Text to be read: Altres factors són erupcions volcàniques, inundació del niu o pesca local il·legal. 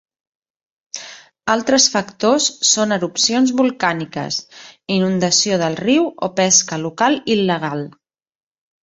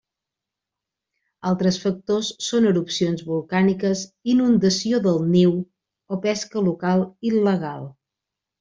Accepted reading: second